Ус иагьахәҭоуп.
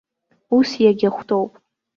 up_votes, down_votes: 0, 2